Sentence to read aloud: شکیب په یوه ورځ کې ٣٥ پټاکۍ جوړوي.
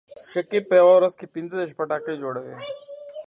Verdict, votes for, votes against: rejected, 0, 2